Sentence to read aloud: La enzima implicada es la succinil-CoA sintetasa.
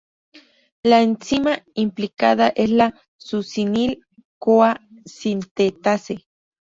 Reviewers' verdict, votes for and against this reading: rejected, 0, 4